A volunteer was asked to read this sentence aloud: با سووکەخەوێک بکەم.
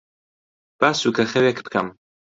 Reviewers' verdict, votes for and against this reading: accepted, 2, 0